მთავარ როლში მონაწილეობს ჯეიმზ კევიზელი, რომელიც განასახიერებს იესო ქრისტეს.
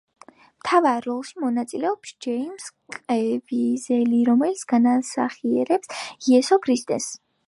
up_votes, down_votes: 2, 0